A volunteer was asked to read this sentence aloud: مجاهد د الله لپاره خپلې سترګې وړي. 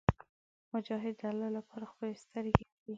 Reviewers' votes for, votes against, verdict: 0, 2, rejected